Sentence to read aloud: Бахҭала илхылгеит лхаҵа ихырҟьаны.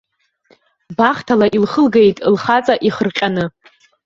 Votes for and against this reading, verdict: 1, 2, rejected